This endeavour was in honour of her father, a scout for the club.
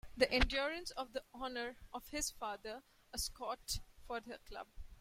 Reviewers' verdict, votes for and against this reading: rejected, 1, 2